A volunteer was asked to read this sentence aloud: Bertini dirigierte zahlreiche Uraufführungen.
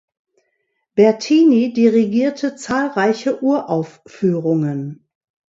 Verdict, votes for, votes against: accepted, 2, 0